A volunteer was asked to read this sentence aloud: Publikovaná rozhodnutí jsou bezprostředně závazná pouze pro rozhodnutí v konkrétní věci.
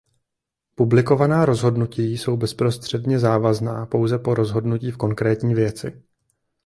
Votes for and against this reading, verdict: 0, 2, rejected